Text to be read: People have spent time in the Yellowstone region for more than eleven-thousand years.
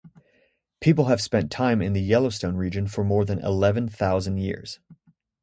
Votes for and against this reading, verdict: 2, 0, accepted